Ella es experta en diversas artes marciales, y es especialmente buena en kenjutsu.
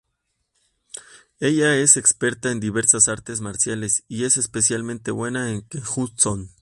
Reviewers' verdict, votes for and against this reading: rejected, 0, 2